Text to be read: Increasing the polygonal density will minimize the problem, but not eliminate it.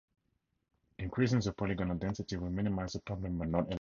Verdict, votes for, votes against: rejected, 2, 2